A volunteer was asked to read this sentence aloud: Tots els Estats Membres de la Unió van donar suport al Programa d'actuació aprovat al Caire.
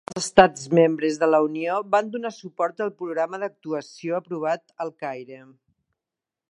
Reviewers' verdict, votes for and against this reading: rejected, 1, 2